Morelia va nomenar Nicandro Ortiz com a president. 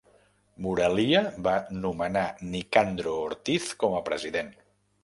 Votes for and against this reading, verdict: 1, 2, rejected